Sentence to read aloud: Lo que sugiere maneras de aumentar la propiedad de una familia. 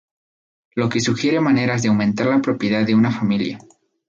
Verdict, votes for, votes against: accepted, 4, 0